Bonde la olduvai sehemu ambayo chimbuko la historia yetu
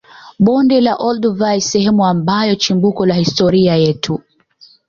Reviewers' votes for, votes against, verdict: 2, 0, accepted